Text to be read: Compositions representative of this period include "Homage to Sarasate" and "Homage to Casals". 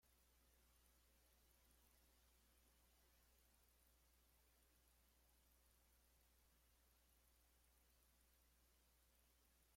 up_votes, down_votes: 0, 2